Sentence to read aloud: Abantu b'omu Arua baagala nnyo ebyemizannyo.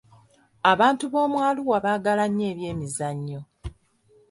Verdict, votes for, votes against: accepted, 2, 0